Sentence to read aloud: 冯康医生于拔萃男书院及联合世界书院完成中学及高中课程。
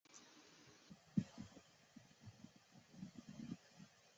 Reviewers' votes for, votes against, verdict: 0, 2, rejected